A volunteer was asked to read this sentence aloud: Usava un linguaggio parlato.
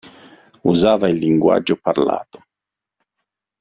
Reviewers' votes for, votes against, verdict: 0, 2, rejected